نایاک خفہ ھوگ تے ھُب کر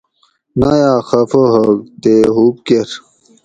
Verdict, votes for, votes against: accepted, 2, 0